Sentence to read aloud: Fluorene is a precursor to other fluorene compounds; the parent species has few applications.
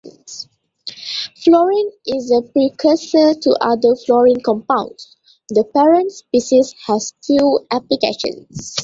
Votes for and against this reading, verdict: 2, 0, accepted